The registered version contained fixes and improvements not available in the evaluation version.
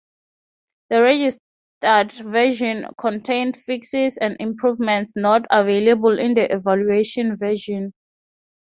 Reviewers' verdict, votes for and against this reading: accepted, 3, 0